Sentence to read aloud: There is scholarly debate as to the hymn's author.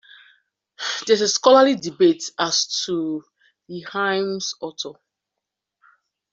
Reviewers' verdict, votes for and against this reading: rejected, 0, 2